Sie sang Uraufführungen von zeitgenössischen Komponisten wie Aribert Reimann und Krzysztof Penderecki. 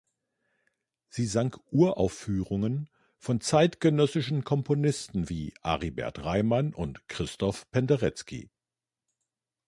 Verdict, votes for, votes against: rejected, 1, 2